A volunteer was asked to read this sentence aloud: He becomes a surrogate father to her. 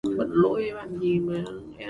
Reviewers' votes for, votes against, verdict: 0, 2, rejected